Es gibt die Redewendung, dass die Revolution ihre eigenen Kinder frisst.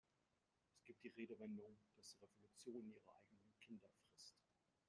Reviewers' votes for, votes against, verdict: 1, 2, rejected